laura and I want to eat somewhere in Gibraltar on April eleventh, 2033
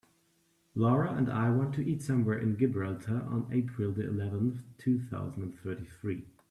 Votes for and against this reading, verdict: 0, 2, rejected